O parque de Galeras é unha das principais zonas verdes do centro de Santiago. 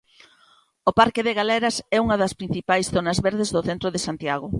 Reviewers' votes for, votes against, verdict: 2, 0, accepted